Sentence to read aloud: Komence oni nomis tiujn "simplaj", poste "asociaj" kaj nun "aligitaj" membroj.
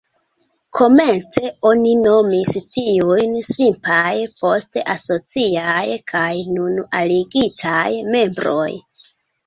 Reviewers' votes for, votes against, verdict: 1, 2, rejected